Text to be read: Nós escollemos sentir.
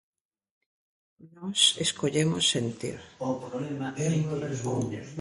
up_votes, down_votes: 0, 2